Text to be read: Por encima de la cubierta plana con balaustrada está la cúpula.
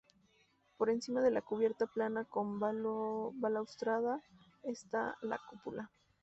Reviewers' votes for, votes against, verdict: 0, 2, rejected